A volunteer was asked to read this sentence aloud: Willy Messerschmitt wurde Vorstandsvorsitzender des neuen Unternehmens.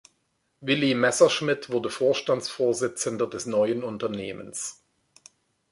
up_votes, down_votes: 2, 0